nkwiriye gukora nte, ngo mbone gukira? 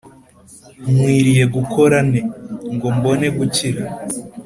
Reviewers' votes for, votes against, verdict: 3, 0, accepted